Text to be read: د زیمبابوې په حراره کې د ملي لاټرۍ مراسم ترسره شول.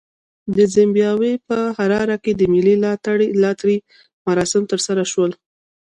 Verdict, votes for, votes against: rejected, 1, 2